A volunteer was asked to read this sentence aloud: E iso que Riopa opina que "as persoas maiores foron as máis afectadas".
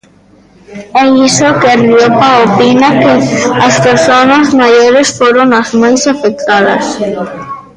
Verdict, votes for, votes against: rejected, 0, 2